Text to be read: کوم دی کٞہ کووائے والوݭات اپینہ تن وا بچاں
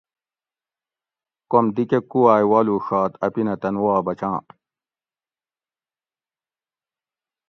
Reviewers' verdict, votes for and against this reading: accepted, 2, 0